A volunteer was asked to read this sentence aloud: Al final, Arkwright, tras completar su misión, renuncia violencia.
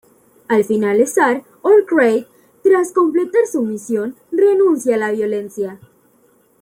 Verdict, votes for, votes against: rejected, 1, 2